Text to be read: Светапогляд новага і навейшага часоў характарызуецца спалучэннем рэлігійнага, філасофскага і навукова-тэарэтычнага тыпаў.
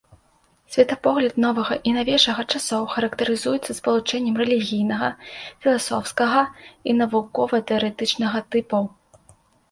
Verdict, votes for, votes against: accepted, 2, 0